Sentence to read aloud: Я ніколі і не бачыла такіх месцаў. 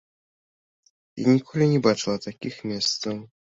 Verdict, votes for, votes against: rejected, 1, 2